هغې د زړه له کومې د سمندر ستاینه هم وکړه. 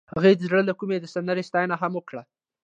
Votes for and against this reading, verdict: 2, 0, accepted